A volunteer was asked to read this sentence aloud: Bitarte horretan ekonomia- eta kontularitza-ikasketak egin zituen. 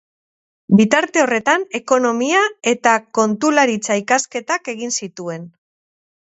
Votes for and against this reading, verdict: 6, 0, accepted